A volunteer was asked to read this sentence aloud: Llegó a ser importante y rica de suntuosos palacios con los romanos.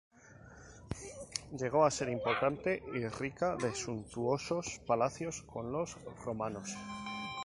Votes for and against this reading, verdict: 0, 2, rejected